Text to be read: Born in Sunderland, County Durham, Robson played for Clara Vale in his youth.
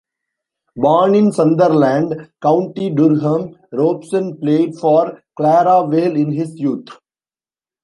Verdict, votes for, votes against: rejected, 1, 2